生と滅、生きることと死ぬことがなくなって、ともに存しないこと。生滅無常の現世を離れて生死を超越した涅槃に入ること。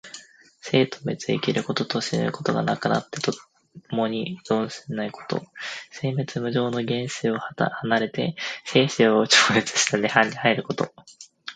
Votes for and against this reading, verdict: 1, 2, rejected